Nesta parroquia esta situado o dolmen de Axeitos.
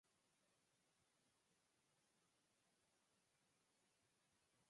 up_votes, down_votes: 0, 4